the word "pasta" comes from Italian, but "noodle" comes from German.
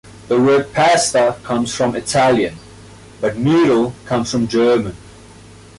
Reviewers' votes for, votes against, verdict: 2, 0, accepted